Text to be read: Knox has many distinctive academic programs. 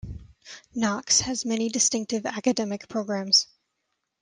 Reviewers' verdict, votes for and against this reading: accepted, 2, 1